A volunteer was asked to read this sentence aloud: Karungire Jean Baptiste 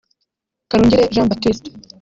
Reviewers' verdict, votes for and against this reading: rejected, 0, 2